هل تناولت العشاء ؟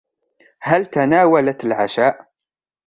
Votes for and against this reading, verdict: 1, 2, rejected